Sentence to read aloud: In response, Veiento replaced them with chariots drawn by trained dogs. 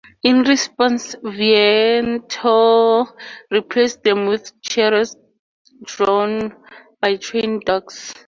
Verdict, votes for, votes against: rejected, 0, 2